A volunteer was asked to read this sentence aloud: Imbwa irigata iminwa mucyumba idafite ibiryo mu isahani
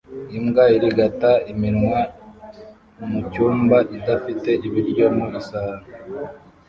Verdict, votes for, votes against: rejected, 1, 2